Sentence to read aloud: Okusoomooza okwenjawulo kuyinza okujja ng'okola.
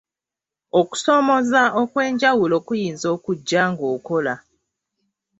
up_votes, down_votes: 2, 0